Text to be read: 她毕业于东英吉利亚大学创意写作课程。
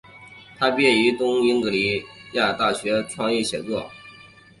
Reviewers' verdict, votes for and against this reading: accepted, 2, 0